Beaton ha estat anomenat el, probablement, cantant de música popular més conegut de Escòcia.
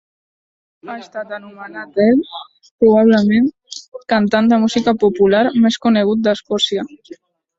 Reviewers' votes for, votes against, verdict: 0, 2, rejected